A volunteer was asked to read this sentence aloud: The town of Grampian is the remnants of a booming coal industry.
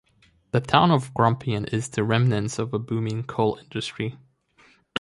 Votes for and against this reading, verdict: 2, 0, accepted